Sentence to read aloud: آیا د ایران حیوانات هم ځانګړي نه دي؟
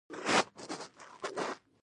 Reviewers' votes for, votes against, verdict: 1, 2, rejected